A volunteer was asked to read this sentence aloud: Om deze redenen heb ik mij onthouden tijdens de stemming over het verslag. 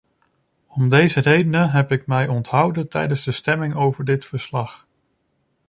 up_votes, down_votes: 0, 2